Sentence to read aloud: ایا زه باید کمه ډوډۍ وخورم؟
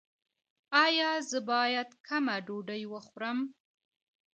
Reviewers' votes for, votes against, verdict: 1, 2, rejected